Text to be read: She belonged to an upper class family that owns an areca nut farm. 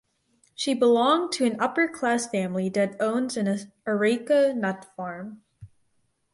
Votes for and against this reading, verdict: 2, 4, rejected